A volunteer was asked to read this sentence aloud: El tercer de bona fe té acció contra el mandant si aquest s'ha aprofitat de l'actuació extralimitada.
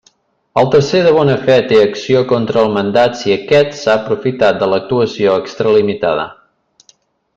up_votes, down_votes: 0, 2